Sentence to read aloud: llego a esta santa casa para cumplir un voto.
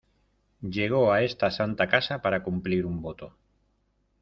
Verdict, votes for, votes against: rejected, 0, 2